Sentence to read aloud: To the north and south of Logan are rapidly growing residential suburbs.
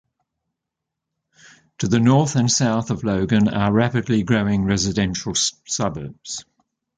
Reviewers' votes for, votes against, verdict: 3, 2, accepted